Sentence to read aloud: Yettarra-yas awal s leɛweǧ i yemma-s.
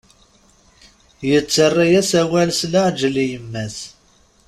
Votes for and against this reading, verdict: 0, 2, rejected